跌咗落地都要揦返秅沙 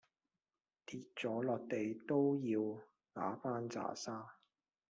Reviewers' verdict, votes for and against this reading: rejected, 1, 2